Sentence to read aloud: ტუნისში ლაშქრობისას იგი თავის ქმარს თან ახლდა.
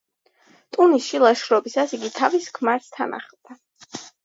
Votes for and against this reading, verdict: 2, 0, accepted